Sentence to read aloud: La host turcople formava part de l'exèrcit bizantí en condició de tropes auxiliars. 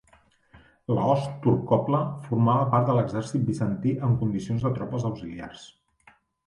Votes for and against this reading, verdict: 2, 1, accepted